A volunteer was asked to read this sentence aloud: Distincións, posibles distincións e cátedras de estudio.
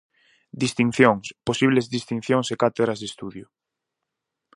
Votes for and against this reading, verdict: 4, 0, accepted